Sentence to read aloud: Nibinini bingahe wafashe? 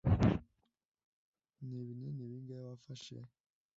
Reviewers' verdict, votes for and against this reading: rejected, 1, 2